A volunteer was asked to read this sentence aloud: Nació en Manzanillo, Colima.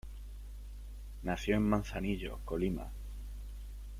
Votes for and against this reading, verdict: 2, 0, accepted